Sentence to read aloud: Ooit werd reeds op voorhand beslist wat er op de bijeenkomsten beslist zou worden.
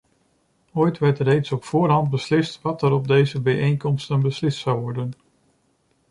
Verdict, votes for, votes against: rejected, 0, 2